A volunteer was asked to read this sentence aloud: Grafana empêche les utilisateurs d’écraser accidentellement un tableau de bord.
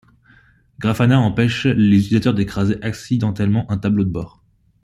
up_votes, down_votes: 2, 0